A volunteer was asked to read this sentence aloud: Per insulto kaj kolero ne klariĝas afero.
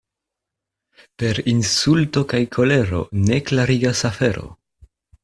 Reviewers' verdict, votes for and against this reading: rejected, 1, 2